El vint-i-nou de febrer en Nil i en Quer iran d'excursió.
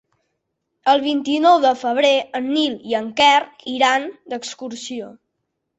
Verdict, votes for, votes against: accepted, 4, 0